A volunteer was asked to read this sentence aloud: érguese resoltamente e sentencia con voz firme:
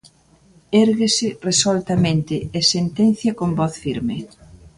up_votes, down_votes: 2, 0